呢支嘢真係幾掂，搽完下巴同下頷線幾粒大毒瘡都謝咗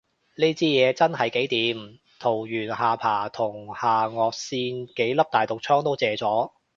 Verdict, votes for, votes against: rejected, 0, 2